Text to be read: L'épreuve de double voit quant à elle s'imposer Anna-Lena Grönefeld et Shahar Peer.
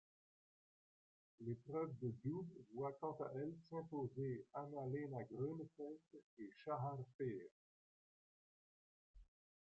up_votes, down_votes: 2, 0